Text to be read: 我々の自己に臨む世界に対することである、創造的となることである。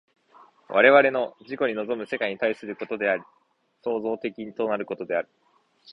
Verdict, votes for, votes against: accepted, 2, 0